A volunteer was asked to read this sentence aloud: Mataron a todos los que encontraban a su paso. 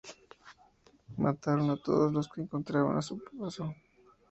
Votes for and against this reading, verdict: 2, 2, rejected